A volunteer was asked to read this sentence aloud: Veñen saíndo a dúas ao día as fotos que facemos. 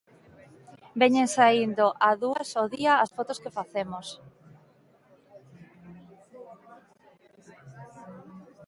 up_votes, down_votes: 2, 0